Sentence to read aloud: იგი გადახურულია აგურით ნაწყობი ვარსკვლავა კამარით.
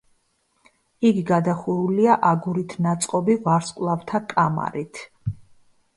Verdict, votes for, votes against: rejected, 1, 2